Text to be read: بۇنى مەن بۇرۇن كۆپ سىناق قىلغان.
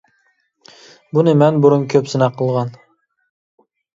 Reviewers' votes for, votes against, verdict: 2, 0, accepted